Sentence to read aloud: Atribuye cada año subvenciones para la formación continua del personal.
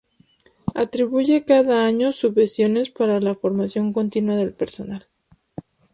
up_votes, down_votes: 0, 2